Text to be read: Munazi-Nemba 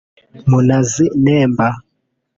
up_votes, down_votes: 1, 2